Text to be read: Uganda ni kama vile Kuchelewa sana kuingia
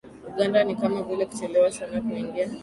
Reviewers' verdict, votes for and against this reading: accepted, 2, 0